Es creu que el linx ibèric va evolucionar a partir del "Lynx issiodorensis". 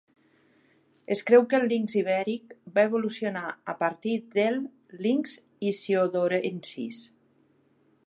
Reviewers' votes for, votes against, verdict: 3, 2, accepted